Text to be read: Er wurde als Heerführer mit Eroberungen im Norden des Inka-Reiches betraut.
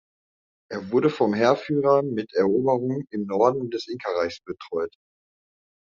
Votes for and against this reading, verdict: 0, 2, rejected